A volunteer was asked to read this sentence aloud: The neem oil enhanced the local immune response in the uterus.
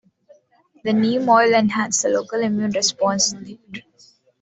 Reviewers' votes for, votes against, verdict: 0, 2, rejected